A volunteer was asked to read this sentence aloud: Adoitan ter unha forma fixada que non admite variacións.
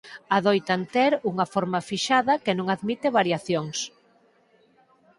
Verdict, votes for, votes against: accepted, 4, 0